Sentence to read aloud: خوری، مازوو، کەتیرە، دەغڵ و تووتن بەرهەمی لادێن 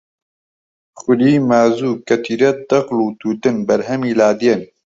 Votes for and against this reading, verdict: 2, 0, accepted